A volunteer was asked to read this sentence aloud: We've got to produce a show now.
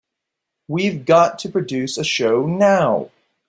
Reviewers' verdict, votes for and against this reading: accepted, 4, 0